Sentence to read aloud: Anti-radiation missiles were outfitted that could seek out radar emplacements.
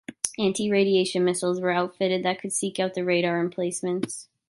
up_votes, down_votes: 1, 2